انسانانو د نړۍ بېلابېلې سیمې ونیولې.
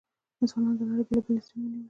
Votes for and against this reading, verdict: 0, 2, rejected